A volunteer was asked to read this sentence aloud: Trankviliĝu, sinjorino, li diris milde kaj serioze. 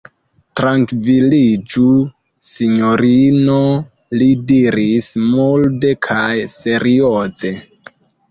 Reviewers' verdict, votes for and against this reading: rejected, 0, 2